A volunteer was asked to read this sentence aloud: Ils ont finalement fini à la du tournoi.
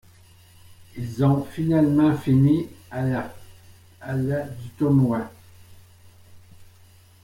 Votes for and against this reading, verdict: 0, 3, rejected